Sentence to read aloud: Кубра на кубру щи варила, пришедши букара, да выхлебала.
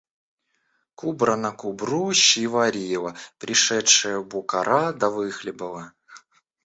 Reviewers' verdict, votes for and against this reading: rejected, 0, 2